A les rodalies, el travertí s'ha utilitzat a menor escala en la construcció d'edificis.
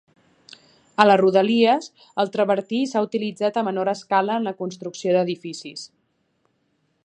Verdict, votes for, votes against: accepted, 3, 0